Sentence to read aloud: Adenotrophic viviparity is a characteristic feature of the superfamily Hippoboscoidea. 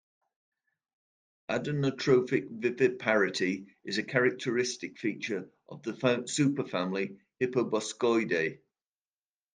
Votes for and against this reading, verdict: 1, 2, rejected